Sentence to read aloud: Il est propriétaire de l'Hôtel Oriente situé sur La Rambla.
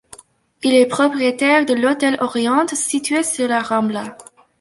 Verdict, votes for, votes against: accepted, 2, 0